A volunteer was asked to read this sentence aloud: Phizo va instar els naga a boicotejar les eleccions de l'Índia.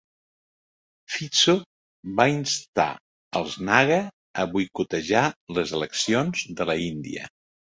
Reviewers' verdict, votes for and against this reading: accepted, 2, 1